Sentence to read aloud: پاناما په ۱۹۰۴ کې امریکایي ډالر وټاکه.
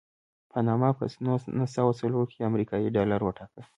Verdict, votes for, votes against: rejected, 0, 2